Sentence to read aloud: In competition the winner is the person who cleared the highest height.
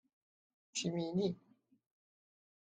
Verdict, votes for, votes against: rejected, 0, 2